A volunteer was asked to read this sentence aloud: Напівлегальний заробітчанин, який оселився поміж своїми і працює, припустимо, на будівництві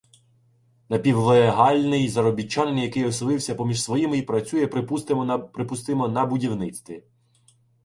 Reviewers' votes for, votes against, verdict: 0, 2, rejected